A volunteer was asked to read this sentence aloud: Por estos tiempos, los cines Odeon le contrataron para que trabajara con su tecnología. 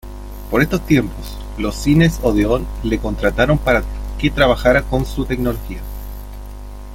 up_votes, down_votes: 1, 2